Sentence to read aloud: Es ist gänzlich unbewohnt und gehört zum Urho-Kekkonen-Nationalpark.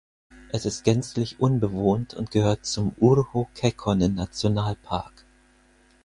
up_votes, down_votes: 4, 0